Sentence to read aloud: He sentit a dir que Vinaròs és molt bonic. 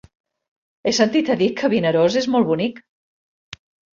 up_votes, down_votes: 0, 2